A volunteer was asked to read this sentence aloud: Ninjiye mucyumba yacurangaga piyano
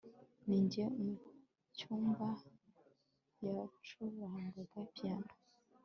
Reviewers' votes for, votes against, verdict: 3, 0, accepted